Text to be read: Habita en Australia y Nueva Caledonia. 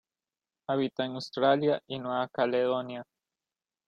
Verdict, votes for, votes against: accepted, 2, 0